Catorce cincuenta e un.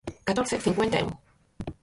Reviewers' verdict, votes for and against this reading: rejected, 0, 4